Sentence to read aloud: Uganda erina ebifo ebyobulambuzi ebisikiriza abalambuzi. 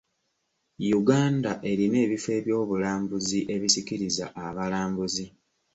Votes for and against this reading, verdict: 2, 1, accepted